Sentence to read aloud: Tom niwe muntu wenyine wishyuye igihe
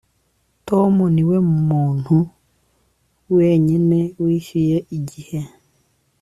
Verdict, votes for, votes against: accepted, 2, 0